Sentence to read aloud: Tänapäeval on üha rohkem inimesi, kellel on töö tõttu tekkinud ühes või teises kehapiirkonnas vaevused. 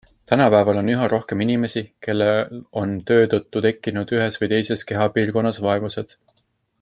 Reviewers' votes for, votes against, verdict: 2, 0, accepted